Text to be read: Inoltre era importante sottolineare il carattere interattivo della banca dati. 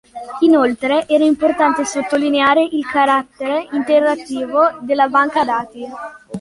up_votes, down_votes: 2, 0